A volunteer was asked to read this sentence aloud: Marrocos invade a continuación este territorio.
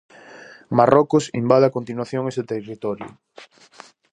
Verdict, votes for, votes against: rejected, 0, 4